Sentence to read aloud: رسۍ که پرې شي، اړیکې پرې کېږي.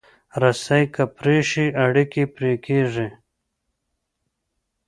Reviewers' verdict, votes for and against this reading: accepted, 2, 0